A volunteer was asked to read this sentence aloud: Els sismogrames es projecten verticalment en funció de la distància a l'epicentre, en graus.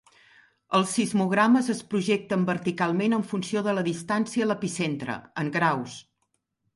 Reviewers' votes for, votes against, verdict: 2, 0, accepted